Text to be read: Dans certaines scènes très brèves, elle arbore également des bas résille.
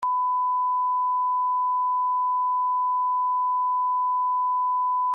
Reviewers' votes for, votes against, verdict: 0, 2, rejected